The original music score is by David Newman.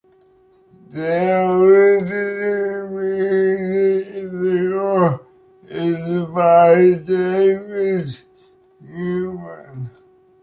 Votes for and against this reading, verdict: 1, 3, rejected